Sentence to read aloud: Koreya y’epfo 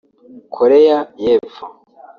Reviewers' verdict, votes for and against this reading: accepted, 3, 1